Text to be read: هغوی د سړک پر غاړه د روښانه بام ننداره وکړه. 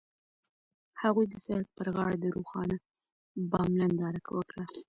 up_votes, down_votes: 0, 2